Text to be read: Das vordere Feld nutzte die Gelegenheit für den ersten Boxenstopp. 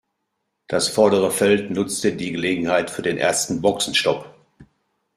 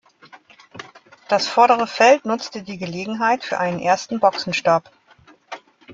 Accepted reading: first